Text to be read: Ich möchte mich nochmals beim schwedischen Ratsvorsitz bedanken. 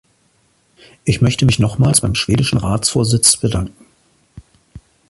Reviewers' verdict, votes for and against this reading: accepted, 2, 0